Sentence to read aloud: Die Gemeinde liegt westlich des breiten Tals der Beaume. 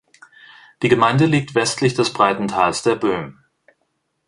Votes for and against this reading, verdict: 1, 2, rejected